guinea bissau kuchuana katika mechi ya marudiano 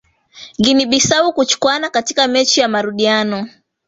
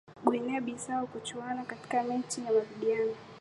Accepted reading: second